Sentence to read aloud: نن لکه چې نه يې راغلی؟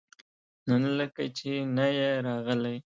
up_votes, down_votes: 2, 1